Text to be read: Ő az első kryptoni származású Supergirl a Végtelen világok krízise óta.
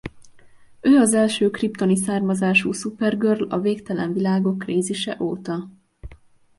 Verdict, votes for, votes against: accepted, 2, 0